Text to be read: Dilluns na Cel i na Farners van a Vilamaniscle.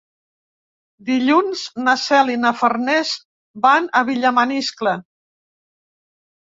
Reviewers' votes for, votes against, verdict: 0, 4, rejected